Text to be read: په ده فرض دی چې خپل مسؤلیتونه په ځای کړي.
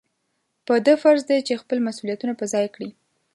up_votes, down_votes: 2, 0